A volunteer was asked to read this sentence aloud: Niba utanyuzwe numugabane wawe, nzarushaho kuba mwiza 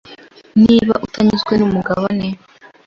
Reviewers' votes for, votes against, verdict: 0, 2, rejected